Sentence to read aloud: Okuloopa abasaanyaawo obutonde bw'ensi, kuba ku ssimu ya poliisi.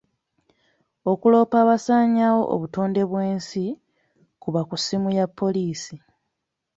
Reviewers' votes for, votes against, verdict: 2, 0, accepted